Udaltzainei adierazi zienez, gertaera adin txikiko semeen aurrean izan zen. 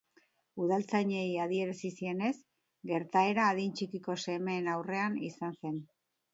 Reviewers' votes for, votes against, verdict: 2, 0, accepted